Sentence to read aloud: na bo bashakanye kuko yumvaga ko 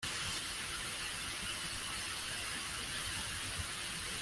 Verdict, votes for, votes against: rejected, 0, 2